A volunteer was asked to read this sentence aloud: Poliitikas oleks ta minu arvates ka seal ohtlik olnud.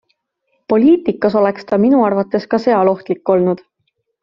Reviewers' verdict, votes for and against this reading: accepted, 2, 0